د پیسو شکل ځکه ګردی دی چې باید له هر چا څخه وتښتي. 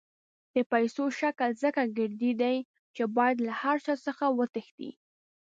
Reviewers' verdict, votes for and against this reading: accepted, 2, 0